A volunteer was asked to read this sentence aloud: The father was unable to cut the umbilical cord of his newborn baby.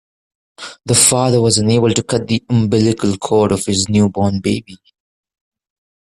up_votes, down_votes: 2, 0